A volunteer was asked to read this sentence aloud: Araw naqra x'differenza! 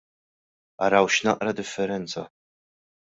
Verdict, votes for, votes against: rejected, 0, 2